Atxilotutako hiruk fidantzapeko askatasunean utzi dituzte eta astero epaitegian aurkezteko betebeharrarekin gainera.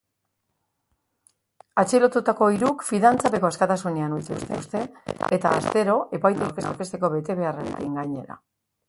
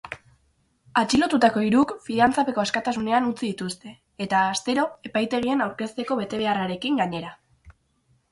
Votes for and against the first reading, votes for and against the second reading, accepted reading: 1, 2, 4, 0, second